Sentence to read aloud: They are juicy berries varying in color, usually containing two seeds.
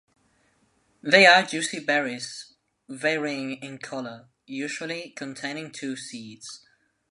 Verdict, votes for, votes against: accepted, 2, 1